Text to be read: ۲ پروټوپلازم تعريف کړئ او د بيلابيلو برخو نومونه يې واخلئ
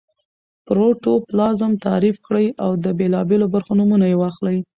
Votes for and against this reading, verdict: 0, 2, rejected